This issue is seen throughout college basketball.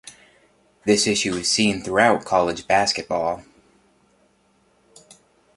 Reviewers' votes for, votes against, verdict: 2, 0, accepted